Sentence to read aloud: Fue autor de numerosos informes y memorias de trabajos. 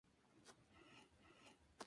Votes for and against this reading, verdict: 0, 2, rejected